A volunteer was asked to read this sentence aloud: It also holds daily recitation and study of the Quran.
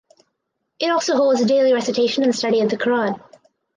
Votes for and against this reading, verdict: 4, 0, accepted